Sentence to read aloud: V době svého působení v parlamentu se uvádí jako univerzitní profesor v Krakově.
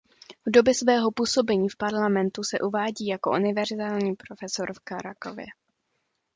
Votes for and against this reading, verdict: 0, 2, rejected